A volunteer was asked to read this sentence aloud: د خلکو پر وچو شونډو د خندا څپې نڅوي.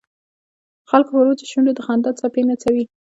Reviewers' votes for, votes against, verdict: 2, 1, accepted